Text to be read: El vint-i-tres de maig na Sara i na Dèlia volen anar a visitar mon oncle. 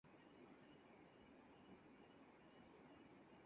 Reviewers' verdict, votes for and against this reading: rejected, 0, 4